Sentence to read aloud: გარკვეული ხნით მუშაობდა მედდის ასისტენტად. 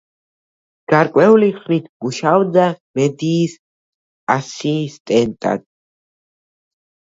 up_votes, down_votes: 0, 2